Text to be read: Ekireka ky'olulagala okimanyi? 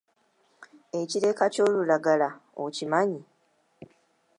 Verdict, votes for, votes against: accepted, 2, 0